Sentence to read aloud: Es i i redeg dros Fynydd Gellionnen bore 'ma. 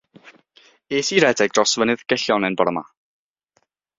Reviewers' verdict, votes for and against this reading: rejected, 3, 3